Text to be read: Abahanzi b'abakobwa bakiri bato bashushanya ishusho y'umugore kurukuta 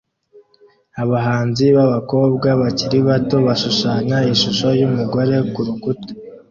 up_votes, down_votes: 2, 0